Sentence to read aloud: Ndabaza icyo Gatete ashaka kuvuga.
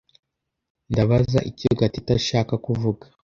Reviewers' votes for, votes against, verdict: 2, 0, accepted